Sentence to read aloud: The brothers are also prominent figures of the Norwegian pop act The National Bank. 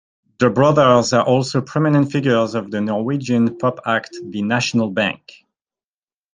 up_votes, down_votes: 2, 0